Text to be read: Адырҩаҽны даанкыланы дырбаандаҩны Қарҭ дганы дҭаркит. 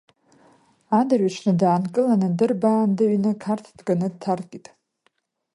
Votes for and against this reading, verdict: 2, 0, accepted